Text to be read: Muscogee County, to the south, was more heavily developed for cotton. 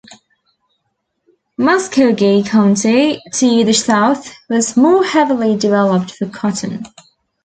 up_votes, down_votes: 2, 0